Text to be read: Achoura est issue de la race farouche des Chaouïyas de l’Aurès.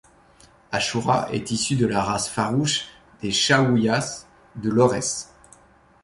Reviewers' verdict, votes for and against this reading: accepted, 2, 0